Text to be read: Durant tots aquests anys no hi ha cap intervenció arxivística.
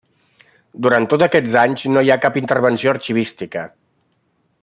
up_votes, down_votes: 3, 0